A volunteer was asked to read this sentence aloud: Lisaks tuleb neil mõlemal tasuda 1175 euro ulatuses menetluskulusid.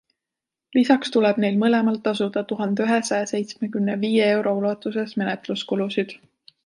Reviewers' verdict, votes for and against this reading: rejected, 0, 2